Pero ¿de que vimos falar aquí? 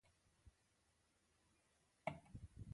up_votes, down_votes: 0, 2